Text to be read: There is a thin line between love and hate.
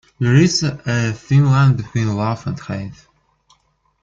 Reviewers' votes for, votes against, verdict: 1, 2, rejected